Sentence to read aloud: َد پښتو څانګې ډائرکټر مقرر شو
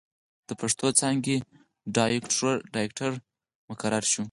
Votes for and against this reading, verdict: 0, 4, rejected